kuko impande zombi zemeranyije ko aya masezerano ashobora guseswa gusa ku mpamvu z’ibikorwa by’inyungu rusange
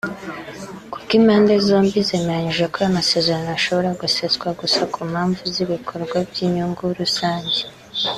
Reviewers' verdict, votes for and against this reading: accepted, 2, 0